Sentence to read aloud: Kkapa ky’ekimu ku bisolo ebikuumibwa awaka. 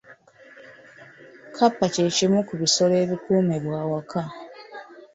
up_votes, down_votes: 2, 0